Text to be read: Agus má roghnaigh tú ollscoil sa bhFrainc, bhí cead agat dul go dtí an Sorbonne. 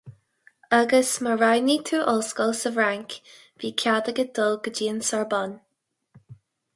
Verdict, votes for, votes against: accepted, 4, 0